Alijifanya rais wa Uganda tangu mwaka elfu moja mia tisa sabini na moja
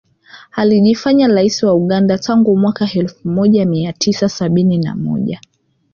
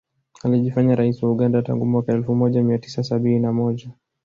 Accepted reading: second